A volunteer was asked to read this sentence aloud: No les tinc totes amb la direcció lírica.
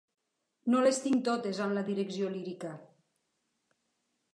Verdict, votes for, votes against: accepted, 3, 0